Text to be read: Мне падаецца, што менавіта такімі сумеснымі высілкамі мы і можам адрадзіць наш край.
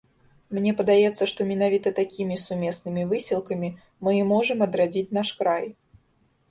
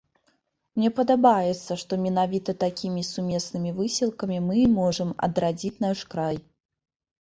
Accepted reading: first